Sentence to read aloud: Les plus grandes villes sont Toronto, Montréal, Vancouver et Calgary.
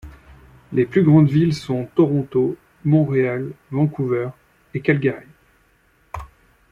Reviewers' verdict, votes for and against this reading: accepted, 2, 1